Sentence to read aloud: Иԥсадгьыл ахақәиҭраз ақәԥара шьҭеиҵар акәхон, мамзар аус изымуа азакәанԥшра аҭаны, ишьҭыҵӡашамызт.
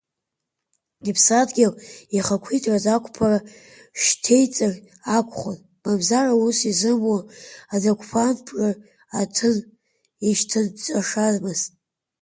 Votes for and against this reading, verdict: 1, 2, rejected